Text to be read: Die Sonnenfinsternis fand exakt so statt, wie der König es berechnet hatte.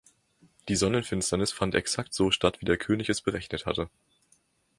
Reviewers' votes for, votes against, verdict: 2, 0, accepted